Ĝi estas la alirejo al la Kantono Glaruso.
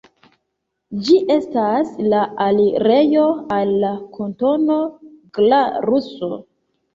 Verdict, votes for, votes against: accepted, 2, 0